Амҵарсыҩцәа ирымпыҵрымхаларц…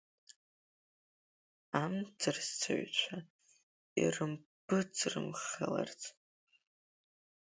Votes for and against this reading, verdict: 2, 0, accepted